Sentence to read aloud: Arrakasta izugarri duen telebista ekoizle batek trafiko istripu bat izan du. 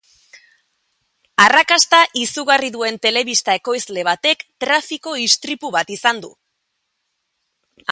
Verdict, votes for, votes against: rejected, 0, 2